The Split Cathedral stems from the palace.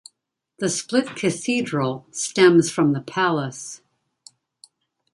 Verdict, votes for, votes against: accepted, 2, 0